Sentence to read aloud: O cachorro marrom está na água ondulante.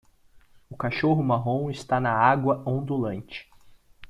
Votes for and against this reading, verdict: 2, 0, accepted